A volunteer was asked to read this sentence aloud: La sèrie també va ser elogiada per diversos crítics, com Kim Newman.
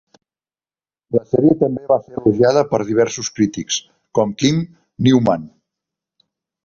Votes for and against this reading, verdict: 1, 2, rejected